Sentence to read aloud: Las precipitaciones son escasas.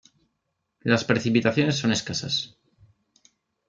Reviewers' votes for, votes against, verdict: 2, 0, accepted